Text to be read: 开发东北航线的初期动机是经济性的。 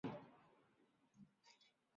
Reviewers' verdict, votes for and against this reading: rejected, 0, 2